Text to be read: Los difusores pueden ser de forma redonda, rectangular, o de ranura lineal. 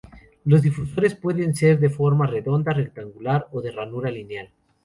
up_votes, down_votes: 4, 0